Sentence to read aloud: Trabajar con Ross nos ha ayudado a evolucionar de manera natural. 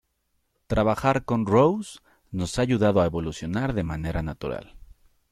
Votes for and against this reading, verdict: 2, 1, accepted